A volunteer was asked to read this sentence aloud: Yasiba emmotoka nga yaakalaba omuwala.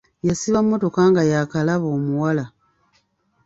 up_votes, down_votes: 2, 0